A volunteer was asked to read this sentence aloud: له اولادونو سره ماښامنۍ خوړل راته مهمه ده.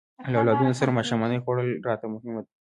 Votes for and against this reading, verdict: 0, 2, rejected